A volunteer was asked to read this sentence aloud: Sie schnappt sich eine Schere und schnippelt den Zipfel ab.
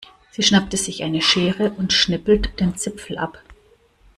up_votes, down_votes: 0, 2